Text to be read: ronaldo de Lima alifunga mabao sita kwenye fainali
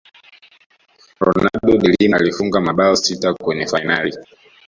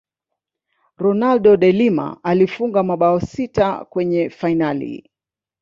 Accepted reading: first